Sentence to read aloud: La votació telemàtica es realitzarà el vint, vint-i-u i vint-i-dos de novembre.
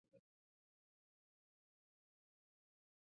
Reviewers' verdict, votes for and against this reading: rejected, 0, 2